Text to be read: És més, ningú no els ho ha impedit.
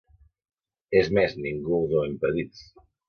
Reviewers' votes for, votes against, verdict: 0, 2, rejected